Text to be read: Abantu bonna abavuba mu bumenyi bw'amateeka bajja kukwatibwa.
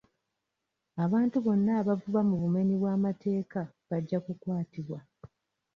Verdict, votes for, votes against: rejected, 0, 2